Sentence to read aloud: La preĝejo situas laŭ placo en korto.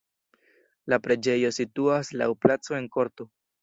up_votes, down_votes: 2, 0